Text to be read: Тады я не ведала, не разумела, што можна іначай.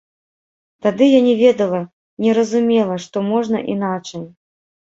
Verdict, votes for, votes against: rejected, 1, 2